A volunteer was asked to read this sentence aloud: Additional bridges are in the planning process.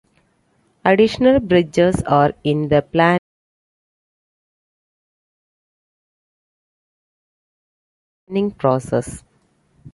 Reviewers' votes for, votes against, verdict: 0, 2, rejected